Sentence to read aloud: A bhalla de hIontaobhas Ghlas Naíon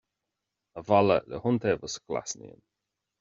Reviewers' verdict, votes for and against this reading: rejected, 1, 2